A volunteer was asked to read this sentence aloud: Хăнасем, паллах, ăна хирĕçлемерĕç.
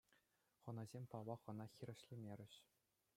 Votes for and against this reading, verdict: 2, 0, accepted